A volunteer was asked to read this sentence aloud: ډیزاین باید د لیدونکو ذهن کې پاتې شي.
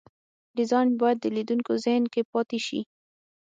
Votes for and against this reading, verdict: 6, 0, accepted